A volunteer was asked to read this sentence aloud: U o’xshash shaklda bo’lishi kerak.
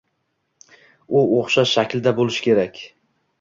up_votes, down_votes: 2, 0